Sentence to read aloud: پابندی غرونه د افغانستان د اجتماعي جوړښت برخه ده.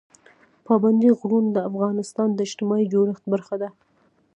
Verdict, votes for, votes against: accepted, 2, 0